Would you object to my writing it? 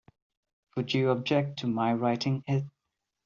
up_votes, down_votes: 2, 0